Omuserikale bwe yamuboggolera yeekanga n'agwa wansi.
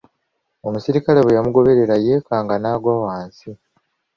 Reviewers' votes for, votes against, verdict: 2, 0, accepted